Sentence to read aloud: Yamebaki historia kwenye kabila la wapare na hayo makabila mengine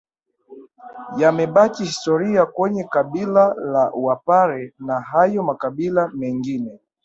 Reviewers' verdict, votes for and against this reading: accepted, 2, 1